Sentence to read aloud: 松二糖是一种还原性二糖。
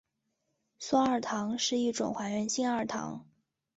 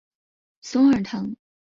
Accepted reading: first